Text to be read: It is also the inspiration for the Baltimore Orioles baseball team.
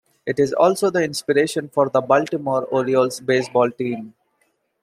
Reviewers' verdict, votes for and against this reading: accepted, 2, 0